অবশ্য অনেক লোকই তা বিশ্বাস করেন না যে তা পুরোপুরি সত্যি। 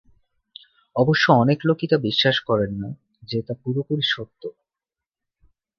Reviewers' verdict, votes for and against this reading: rejected, 1, 2